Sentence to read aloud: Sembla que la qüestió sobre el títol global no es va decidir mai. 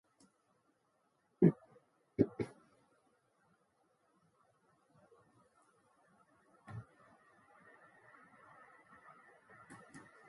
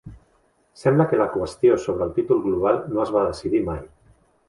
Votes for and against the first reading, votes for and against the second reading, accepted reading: 0, 2, 2, 0, second